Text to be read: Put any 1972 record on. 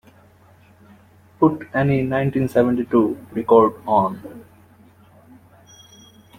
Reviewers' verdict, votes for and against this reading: rejected, 0, 2